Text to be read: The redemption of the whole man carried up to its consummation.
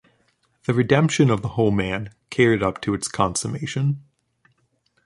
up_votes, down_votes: 2, 0